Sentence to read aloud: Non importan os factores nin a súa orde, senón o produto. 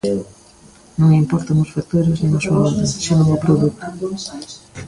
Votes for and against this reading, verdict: 0, 2, rejected